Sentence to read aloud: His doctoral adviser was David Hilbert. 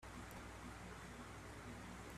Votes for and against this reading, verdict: 0, 2, rejected